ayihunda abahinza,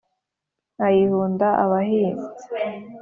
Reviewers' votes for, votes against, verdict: 3, 0, accepted